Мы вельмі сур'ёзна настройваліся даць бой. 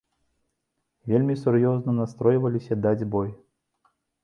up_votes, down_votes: 1, 2